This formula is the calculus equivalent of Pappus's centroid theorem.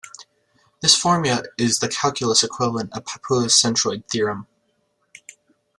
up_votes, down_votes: 1, 2